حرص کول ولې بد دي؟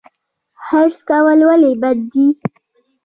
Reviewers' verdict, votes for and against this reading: rejected, 1, 2